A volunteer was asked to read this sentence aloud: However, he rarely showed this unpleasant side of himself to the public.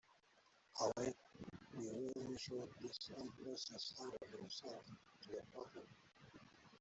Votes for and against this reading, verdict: 0, 2, rejected